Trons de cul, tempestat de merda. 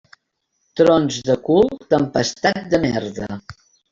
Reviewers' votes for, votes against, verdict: 3, 0, accepted